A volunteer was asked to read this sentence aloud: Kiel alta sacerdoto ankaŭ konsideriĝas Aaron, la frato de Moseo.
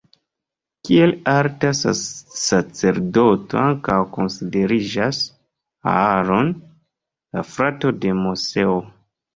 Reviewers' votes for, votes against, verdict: 0, 2, rejected